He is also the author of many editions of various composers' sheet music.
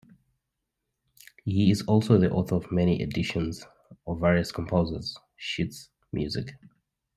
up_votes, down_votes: 0, 2